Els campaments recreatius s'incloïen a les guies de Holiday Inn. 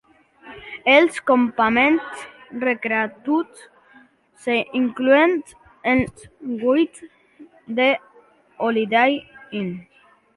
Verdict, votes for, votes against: rejected, 0, 2